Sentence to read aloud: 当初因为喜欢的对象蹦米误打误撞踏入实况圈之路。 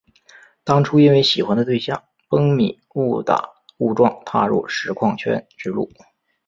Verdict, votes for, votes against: accepted, 4, 0